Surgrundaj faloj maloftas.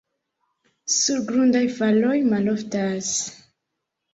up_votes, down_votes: 2, 0